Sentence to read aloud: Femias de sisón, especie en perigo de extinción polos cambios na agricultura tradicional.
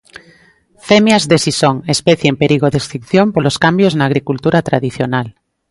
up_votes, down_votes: 2, 0